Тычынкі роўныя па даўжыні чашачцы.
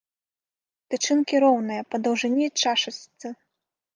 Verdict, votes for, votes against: rejected, 0, 2